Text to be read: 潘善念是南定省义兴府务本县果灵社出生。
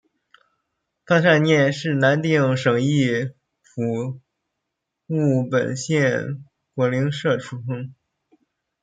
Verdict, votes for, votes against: rejected, 0, 2